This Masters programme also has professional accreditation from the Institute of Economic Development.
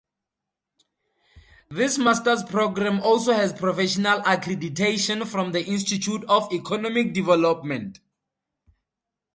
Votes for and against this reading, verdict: 2, 0, accepted